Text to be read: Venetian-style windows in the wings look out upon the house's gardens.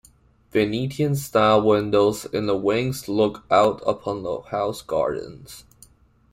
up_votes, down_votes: 1, 2